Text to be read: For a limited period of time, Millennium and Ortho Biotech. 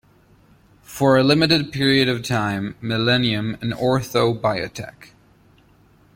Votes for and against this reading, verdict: 2, 0, accepted